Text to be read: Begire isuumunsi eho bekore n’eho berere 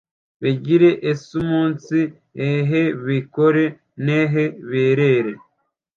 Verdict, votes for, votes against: accepted, 2, 0